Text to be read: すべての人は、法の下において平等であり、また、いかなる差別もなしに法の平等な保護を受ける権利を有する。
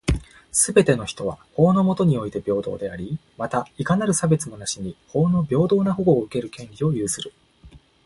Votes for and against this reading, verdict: 2, 1, accepted